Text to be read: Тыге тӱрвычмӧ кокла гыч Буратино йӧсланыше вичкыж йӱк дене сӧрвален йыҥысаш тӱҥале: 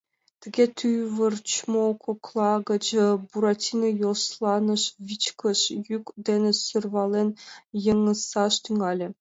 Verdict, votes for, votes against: rejected, 0, 2